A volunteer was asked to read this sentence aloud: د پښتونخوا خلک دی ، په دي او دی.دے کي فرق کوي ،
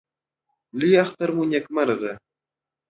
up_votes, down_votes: 2, 3